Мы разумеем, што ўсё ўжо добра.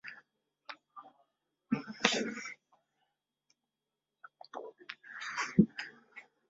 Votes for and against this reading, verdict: 0, 2, rejected